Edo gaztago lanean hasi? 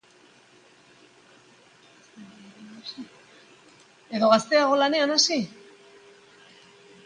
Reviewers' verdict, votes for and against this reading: rejected, 3, 3